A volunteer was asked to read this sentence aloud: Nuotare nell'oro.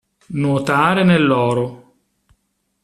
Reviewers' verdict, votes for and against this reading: accepted, 2, 0